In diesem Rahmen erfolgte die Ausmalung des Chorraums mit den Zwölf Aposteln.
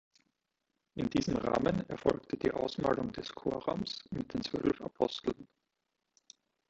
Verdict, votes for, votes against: accepted, 2, 0